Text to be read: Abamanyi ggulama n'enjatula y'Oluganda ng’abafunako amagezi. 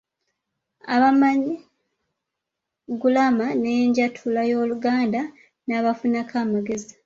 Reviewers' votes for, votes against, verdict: 0, 2, rejected